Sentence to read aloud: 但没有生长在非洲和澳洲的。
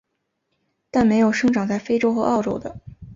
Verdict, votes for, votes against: accepted, 2, 0